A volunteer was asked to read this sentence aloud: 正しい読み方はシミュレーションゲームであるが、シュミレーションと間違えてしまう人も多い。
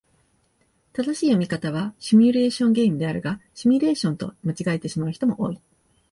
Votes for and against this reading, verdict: 2, 0, accepted